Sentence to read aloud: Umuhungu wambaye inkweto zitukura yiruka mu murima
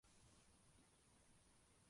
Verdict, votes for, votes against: rejected, 0, 2